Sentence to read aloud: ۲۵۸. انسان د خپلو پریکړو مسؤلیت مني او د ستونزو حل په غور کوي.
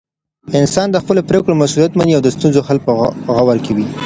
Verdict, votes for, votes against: rejected, 0, 2